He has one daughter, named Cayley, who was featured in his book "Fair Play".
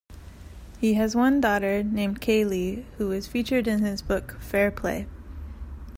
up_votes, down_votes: 2, 0